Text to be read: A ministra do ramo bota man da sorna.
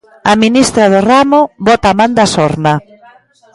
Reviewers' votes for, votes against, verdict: 2, 0, accepted